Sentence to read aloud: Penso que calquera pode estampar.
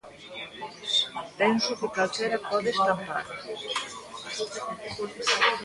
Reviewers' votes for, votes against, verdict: 0, 2, rejected